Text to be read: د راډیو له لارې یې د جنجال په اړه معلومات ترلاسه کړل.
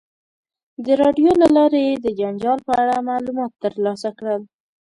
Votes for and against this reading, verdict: 2, 0, accepted